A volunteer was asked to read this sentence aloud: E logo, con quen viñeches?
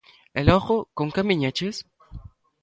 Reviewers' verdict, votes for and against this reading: accepted, 2, 0